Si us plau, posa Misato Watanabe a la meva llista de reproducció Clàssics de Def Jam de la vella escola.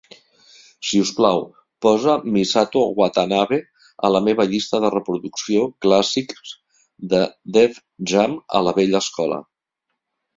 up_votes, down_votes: 1, 2